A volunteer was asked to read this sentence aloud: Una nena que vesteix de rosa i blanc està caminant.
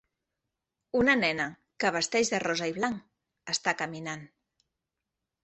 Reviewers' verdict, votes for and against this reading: accepted, 3, 0